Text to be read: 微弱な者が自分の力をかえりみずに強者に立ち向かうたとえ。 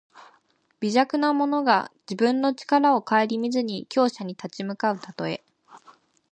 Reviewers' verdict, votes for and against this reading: rejected, 1, 2